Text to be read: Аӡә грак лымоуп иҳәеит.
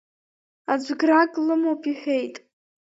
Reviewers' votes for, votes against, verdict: 2, 0, accepted